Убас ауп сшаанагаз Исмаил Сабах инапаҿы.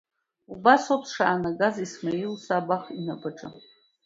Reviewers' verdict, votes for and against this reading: accepted, 2, 1